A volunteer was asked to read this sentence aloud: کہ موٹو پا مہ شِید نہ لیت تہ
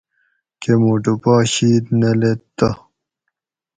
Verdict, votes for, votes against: rejected, 2, 2